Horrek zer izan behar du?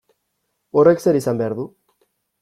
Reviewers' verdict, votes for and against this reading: accepted, 2, 0